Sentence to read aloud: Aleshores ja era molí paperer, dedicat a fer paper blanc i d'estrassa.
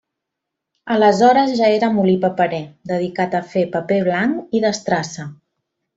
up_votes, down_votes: 3, 0